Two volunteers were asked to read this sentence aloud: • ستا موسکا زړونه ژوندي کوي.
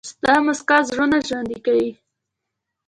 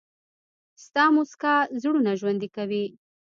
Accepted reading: first